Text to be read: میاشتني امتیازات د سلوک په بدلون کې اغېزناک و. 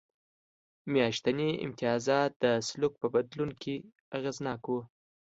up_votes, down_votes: 2, 0